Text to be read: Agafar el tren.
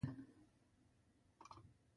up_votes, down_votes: 0, 2